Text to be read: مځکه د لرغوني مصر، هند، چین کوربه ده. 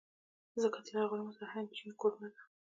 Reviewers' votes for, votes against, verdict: 2, 0, accepted